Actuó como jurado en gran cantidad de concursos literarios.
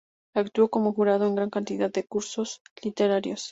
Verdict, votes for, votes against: rejected, 0, 2